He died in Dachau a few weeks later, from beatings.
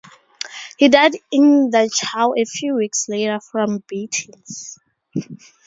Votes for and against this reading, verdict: 4, 0, accepted